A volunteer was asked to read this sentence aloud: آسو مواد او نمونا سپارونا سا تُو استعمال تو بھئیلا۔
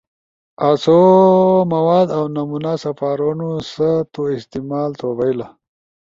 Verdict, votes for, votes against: accepted, 2, 0